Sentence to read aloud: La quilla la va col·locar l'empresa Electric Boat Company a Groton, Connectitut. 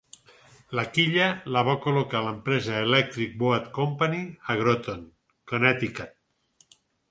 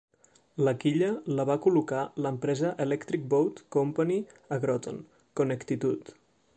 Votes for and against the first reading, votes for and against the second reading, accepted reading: 6, 0, 0, 2, first